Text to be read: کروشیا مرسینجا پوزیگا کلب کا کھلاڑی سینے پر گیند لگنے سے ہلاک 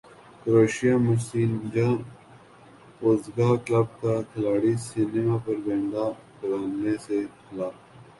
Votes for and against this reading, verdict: 8, 9, rejected